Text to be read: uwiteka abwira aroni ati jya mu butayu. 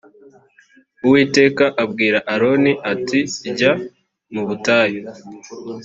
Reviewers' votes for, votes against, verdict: 2, 0, accepted